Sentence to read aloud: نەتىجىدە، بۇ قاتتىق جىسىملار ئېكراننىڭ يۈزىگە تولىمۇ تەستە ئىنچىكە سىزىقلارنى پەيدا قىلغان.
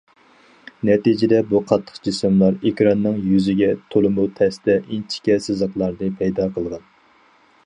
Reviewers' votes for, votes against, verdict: 4, 0, accepted